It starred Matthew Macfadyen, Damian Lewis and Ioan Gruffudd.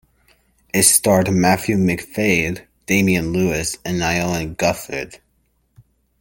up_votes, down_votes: 0, 2